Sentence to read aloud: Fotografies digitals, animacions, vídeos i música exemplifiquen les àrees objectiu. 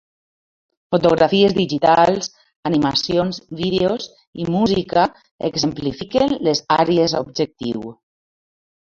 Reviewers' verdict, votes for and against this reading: accepted, 2, 0